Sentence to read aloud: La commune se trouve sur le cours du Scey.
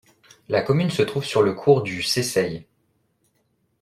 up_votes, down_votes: 0, 2